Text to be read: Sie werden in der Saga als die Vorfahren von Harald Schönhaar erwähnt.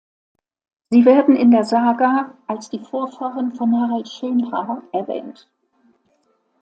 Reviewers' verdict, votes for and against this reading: accepted, 2, 1